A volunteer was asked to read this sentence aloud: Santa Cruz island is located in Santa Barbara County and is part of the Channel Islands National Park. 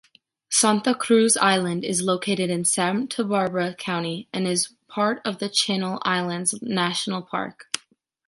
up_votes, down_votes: 1, 2